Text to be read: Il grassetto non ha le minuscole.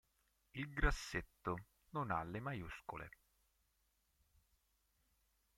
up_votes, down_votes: 0, 4